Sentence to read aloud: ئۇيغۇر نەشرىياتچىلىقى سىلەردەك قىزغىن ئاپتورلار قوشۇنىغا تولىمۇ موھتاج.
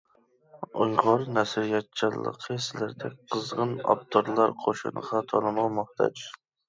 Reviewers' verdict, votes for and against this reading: rejected, 1, 2